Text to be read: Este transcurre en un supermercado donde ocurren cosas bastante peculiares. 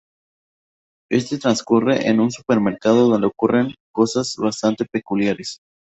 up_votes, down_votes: 2, 0